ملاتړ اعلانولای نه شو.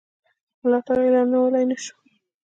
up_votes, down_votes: 0, 2